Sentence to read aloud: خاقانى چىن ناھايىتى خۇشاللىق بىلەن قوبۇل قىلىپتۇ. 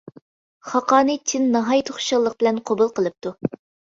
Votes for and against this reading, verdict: 2, 0, accepted